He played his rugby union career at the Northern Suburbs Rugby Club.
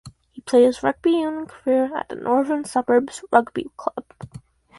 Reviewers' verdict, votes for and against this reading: rejected, 2, 2